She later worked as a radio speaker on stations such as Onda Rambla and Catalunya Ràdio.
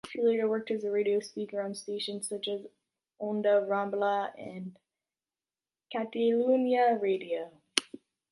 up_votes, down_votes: 0, 2